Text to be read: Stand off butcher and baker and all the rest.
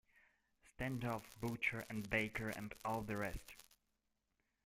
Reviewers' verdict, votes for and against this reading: rejected, 1, 2